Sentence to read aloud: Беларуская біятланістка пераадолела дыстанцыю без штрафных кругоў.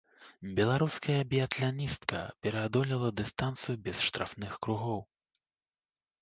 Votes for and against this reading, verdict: 2, 0, accepted